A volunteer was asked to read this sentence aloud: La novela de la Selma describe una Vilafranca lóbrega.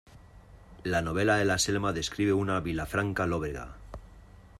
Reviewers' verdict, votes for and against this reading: accepted, 2, 1